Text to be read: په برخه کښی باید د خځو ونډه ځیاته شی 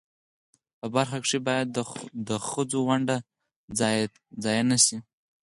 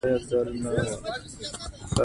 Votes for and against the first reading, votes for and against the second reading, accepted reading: 0, 4, 2, 1, second